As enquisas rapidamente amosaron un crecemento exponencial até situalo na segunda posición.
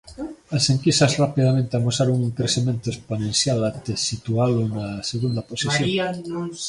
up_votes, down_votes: 0, 2